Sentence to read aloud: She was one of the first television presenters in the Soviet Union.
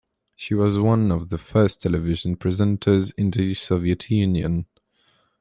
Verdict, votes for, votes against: accepted, 2, 0